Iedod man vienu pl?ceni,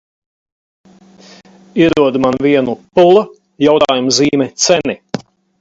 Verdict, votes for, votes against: rejected, 0, 4